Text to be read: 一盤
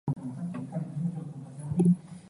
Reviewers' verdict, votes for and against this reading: rejected, 0, 2